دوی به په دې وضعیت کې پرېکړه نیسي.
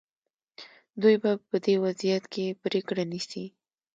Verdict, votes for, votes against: accepted, 2, 0